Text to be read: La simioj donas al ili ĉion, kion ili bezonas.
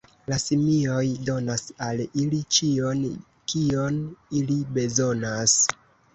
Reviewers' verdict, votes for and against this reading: rejected, 1, 2